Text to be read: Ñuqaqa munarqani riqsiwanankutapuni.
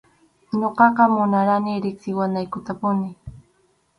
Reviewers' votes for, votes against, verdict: 2, 2, rejected